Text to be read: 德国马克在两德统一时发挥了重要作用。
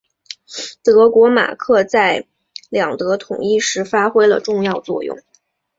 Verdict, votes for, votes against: accepted, 3, 0